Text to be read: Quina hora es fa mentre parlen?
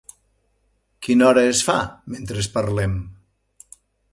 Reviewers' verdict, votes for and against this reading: rejected, 0, 2